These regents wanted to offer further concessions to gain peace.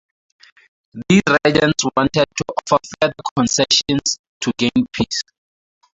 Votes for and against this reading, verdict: 0, 4, rejected